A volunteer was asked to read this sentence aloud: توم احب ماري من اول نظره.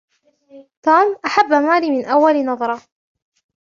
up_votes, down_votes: 2, 0